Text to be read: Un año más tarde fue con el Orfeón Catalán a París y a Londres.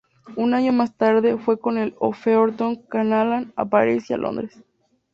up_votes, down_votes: 0, 2